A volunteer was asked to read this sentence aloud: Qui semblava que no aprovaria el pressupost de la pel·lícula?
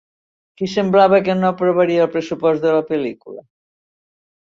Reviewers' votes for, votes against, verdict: 1, 2, rejected